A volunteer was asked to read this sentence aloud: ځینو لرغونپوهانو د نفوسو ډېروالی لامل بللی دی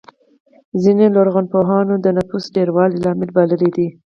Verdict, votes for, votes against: accepted, 4, 0